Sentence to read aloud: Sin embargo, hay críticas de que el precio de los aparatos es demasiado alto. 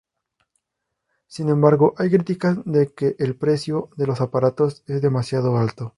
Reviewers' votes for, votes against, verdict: 2, 2, rejected